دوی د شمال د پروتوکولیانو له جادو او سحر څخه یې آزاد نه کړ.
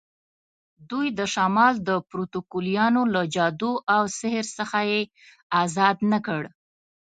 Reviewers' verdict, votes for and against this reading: accepted, 2, 0